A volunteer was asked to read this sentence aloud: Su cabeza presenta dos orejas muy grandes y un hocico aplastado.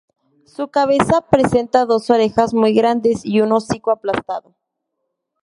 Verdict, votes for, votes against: accepted, 2, 0